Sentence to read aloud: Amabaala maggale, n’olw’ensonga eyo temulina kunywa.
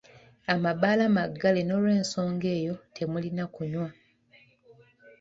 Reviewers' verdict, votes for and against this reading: accepted, 2, 1